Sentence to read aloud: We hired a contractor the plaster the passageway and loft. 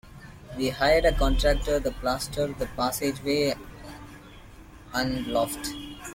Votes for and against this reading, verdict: 0, 2, rejected